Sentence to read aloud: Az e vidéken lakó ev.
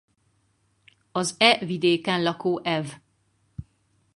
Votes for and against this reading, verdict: 2, 2, rejected